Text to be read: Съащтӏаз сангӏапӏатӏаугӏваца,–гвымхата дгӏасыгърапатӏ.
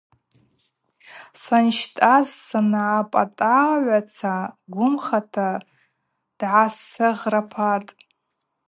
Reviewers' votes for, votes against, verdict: 0, 2, rejected